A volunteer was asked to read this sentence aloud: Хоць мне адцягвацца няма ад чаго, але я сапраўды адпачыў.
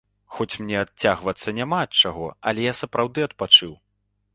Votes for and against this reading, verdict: 2, 0, accepted